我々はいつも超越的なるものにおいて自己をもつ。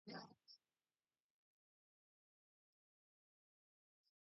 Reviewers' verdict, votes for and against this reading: rejected, 4, 21